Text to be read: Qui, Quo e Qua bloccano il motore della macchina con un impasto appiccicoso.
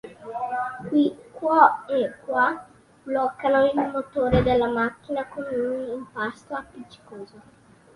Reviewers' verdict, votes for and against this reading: accepted, 2, 0